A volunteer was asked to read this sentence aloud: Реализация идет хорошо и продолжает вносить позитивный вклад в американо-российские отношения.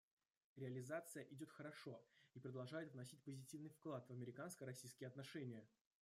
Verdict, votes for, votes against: rejected, 1, 2